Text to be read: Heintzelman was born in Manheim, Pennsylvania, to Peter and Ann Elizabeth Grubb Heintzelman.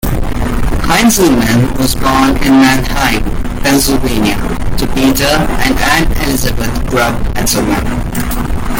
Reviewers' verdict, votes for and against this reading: accepted, 2, 1